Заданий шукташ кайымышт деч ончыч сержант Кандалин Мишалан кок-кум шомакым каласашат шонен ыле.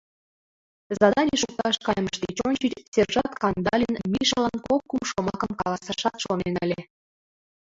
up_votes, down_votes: 0, 2